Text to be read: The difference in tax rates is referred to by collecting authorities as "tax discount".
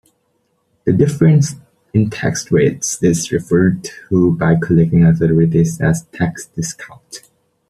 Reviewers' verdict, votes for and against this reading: rejected, 1, 2